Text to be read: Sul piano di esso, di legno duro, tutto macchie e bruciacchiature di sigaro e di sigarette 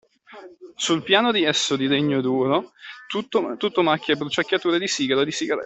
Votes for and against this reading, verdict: 0, 2, rejected